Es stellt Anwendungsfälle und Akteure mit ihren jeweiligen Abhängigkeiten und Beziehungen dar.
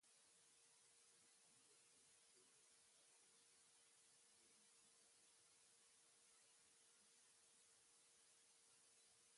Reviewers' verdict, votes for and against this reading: rejected, 0, 2